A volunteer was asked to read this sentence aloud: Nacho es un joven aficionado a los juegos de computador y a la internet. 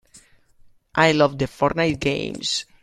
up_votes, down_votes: 0, 2